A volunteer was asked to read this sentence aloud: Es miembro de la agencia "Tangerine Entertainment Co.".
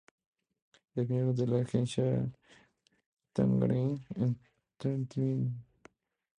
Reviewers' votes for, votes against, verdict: 0, 2, rejected